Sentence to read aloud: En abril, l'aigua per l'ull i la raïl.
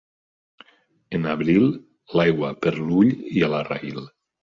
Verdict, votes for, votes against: accepted, 2, 0